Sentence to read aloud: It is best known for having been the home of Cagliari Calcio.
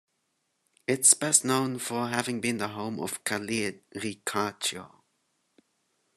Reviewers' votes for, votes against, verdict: 0, 2, rejected